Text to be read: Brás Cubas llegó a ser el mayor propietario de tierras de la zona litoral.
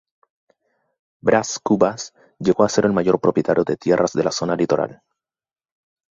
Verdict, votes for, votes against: accepted, 2, 0